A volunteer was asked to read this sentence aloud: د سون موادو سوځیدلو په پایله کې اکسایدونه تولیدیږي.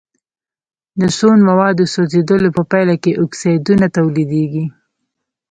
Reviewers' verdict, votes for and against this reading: rejected, 1, 2